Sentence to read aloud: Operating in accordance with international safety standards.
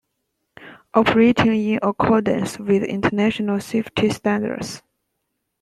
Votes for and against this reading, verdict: 2, 1, accepted